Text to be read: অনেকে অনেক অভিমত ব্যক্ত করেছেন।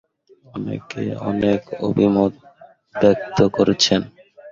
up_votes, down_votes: 2, 3